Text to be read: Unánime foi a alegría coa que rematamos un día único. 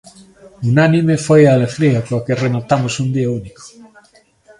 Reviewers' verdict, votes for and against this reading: accepted, 2, 0